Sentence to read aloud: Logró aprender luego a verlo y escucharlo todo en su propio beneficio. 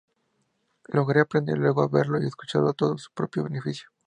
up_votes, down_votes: 0, 2